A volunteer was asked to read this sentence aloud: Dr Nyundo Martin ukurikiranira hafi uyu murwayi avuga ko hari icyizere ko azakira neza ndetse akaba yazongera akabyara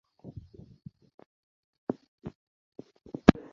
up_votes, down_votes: 0, 2